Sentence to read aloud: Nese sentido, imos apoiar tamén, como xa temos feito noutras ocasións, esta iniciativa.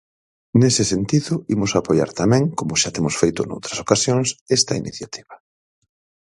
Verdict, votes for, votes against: accepted, 4, 0